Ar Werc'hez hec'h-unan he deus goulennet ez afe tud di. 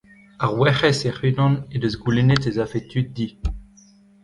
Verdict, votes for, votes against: rejected, 0, 2